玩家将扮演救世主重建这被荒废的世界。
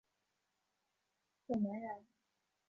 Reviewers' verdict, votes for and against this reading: rejected, 1, 2